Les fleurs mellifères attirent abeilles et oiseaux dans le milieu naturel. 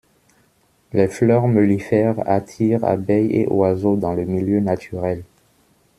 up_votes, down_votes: 2, 0